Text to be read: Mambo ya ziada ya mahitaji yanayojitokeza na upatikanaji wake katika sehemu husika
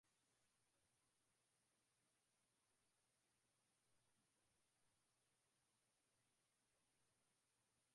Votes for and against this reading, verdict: 0, 7, rejected